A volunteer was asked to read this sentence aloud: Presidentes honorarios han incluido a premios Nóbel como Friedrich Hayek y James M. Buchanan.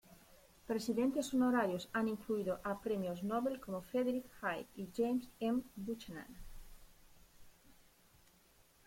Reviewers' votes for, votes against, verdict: 2, 0, accepted